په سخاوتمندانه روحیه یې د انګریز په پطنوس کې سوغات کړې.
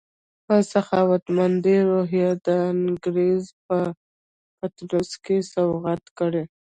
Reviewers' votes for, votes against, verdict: 0, 2, rejected